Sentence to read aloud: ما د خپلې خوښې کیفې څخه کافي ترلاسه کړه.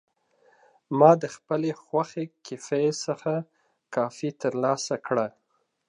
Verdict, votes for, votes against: accepted, 2, 0